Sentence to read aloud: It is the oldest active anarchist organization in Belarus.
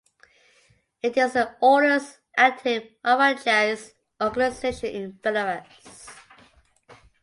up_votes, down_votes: 2, 1